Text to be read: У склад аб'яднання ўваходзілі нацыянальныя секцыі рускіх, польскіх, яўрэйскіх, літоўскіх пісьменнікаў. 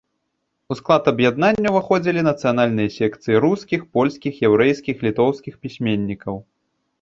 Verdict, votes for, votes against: accepted, 2, 0